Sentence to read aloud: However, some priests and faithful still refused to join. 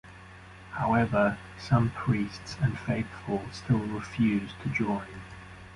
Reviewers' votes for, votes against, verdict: 2, 0, accepted